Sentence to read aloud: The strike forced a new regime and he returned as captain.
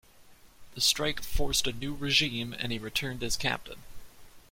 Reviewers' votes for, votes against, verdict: 2, 1, accepted